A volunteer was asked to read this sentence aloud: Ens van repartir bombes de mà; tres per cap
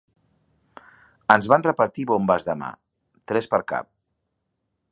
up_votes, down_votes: 3, 0